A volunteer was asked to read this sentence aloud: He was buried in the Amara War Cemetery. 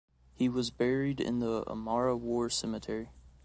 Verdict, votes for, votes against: accepted, 2, 0